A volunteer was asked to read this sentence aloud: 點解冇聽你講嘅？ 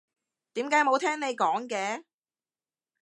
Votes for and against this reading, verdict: 2, 0, accepted